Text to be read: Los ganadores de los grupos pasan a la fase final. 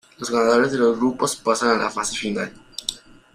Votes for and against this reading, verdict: 0, 2, rejected